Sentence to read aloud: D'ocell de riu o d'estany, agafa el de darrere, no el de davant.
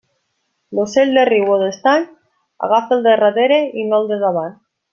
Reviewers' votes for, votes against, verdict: 1, 2, rejected